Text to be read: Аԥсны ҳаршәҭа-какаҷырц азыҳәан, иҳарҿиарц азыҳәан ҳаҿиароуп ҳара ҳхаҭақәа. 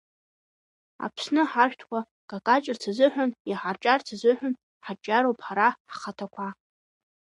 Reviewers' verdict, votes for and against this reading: accepted, 3, 1